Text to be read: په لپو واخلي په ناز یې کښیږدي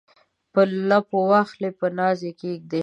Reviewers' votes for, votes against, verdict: 2, 0, accepted